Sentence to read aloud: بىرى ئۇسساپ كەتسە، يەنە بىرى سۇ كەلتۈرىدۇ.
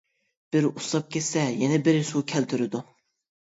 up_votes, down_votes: 1, 2